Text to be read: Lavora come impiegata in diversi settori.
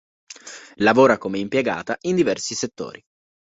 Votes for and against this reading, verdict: 2, 0, accepted